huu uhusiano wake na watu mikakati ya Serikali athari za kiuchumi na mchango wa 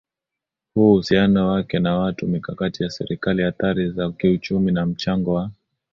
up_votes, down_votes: 2, 0